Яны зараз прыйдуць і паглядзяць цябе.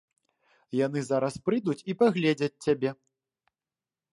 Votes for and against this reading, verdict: 0, 2, rejected